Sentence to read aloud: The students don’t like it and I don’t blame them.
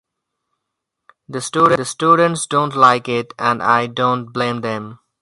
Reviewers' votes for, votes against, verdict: 2, 2, rejected